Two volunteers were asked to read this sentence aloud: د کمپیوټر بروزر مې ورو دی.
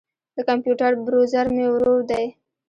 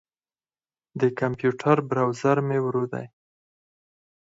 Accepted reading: second